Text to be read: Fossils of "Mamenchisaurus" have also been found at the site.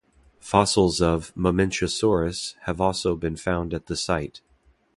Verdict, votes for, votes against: accepted, 2, 0